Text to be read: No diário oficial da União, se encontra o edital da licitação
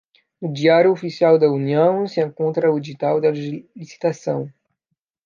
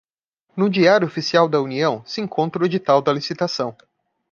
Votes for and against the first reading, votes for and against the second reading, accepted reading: 0, 2, 2, 0, second